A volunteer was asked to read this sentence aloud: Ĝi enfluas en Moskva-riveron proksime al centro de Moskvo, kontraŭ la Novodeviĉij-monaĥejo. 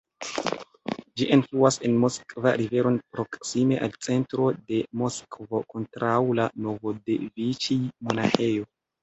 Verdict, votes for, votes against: rejected, 1, 2